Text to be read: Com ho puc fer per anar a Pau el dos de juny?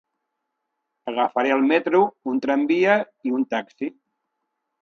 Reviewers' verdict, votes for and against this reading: rejected, 0, 2